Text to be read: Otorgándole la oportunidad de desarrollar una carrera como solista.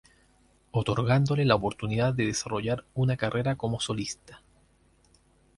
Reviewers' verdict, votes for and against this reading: rejected, 0, 2